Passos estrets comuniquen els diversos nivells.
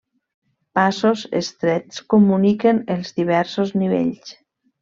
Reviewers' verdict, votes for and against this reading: accepted, 3, 0